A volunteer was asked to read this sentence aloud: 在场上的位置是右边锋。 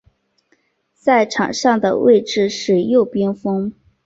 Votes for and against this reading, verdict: 3, 0, accepted